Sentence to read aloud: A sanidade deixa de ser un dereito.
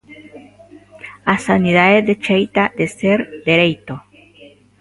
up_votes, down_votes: 0, 3